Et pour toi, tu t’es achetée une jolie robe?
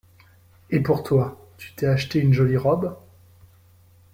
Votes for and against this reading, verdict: 2, 0, accepted